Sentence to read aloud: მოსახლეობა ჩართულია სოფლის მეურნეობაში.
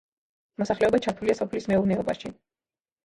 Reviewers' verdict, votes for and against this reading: rejected, 1, 2